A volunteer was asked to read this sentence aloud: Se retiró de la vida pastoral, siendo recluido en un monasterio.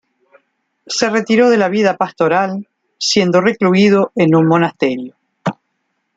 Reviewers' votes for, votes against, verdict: 2, 1, accepted